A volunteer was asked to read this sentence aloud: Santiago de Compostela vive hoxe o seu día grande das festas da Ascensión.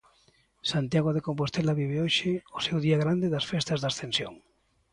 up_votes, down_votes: 2, 0